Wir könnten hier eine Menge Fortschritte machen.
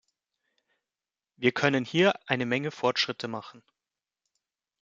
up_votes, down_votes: 0, 2